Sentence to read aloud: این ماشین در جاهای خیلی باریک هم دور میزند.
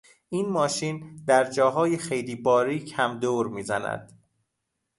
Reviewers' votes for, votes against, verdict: 2, 0, accepted